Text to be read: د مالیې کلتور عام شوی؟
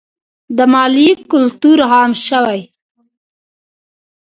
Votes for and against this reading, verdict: 1, 2, rejected